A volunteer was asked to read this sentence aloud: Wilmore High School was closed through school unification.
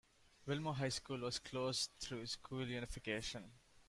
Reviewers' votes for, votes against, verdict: 2, 0, accepted